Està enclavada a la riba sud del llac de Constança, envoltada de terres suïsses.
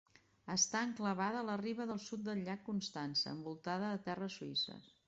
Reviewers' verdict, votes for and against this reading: rejected, 1, 2